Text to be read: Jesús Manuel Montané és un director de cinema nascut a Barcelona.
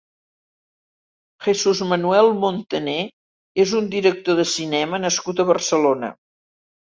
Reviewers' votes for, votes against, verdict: 2, 0, accepted